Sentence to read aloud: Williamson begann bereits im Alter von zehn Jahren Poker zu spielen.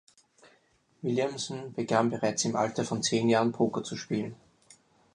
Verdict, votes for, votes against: accepted, 4, 0